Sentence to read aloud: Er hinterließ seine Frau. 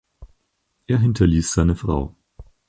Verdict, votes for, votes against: accepted, 4, 0